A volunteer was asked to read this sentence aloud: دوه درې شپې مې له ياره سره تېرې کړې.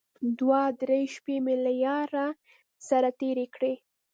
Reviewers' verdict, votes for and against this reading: rejected, 1, 2